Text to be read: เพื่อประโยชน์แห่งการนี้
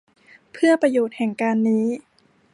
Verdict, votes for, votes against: accepted, 2, 0